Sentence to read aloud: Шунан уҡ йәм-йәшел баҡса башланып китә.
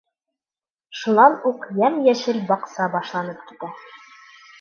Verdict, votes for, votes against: rejected, 1, 2